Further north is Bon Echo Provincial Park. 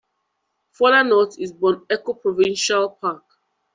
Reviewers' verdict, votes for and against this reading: rejected, 1, 2